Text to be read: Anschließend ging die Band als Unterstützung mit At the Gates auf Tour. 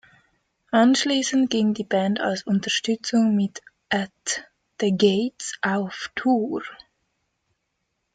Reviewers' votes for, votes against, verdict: 2, 0, accepted